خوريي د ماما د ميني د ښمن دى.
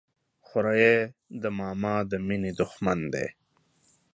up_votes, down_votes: 0, 2